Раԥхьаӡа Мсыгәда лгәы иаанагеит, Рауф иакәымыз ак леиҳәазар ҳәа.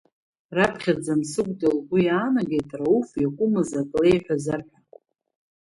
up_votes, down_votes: 4, 0